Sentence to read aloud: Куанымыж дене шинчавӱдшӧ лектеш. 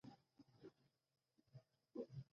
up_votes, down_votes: 1, 2